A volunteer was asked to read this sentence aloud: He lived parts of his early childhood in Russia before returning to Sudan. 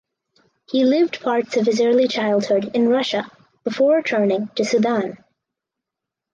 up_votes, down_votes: 2, 0